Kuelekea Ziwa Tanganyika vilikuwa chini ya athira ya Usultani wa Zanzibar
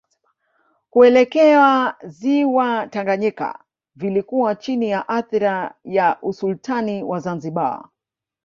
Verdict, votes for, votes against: accepted, 2, 0